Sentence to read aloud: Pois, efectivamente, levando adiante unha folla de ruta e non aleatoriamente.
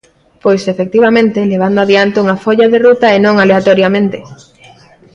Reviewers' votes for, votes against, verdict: 2, 0, accepted